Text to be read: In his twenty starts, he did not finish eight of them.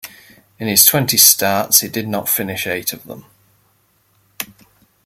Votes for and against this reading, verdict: 2, 0, accepted